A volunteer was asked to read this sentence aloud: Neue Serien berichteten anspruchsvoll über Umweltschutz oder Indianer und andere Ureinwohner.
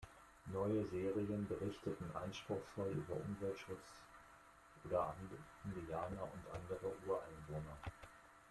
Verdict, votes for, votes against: rejected, 0, 2